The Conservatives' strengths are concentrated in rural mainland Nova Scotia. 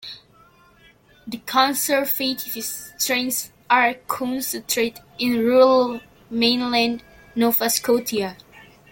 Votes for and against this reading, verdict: 0, 3, rejected